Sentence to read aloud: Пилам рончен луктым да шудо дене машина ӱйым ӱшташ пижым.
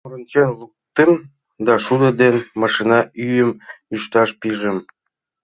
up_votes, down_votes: 0, 2